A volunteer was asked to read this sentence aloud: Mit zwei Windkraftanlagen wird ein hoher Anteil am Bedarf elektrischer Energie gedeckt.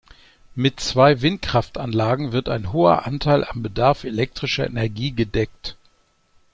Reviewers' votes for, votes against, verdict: 2, 0, accepted